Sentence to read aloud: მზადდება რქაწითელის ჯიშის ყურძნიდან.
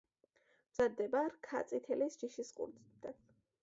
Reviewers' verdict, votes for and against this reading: accepted, 2, 0